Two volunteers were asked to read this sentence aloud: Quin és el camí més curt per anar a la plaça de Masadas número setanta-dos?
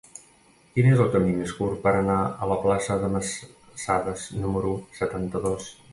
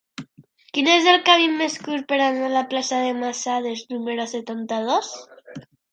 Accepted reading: second